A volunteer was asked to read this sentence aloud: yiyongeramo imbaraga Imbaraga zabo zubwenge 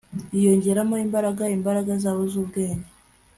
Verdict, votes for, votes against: accepted, 2, 0